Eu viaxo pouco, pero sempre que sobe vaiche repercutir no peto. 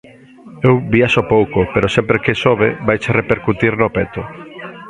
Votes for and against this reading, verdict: 2, 0, accepted